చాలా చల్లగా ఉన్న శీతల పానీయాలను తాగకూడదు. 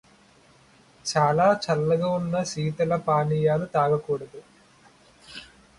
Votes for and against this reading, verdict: 0, 2, rejected